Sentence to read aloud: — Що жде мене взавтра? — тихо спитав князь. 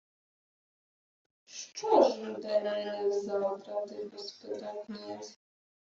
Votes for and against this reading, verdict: 0, 2, rejected